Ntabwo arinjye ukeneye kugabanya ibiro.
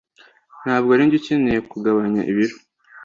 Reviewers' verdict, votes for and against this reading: accepted, 2, 0